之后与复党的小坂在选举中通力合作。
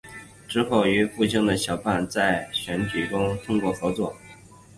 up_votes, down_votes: 0, 2